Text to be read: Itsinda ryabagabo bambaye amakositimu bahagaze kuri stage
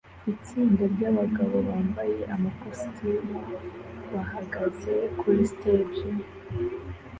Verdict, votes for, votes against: accepted, 2, 0